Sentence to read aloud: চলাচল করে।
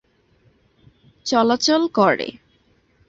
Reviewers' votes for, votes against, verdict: 2, 1, accepted